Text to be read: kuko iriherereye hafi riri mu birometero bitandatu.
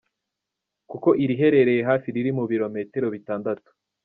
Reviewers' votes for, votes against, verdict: 2, 0, accepted